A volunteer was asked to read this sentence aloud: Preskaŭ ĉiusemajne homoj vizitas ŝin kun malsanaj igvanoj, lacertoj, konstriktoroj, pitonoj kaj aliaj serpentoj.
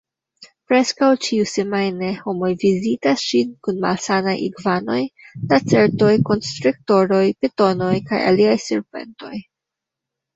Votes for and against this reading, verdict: 2, 1, accepted